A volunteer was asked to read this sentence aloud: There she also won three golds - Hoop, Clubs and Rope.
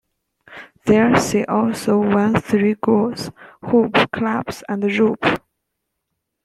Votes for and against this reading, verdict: 0, 2, rejected